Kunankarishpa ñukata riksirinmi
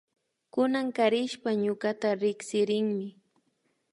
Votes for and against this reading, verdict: 2, 0, accepted